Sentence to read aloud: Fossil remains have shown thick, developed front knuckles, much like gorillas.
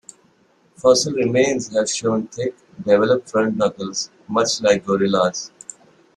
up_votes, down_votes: 0, 2